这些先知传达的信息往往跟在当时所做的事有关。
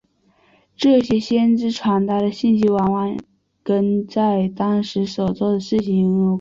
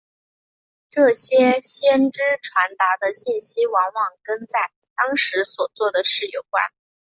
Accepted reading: second